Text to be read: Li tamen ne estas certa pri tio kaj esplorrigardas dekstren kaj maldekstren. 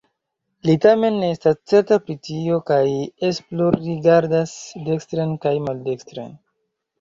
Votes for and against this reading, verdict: 2, 1, accepted